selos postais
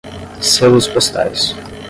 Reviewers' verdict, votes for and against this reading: rejected, 5, 10